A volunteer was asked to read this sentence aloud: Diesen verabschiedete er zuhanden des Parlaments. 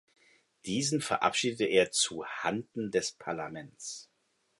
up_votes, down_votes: 2, 0